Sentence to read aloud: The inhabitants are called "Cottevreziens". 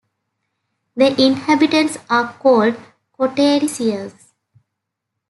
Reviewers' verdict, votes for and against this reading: accepted, 2, 0